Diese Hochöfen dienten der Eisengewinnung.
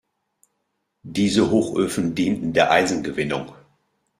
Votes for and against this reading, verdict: 2, 0, accepted